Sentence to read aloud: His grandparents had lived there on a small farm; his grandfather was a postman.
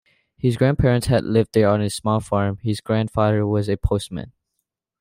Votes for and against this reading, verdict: 2, 0, accepted